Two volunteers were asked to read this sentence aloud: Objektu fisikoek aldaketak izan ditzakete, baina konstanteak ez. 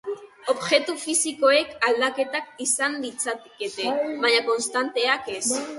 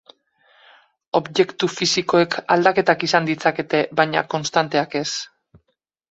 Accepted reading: second